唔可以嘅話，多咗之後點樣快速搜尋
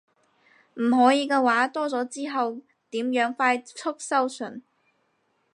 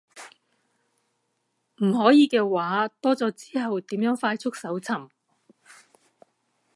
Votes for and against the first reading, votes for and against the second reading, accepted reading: 4, 6, 2, 0, second